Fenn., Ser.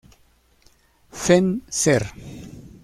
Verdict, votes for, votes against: accepted, 2, 1